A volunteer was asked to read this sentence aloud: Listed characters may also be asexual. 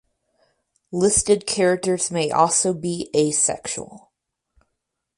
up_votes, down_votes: 4, 0